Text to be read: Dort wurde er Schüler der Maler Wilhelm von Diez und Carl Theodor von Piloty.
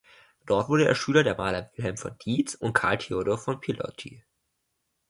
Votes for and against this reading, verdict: 2, 1, accepted